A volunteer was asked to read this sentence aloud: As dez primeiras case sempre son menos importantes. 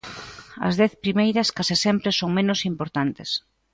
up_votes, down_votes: 2, 0